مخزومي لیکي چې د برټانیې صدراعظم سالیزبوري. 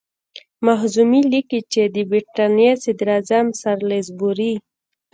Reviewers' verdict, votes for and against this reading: accepted, 2, 0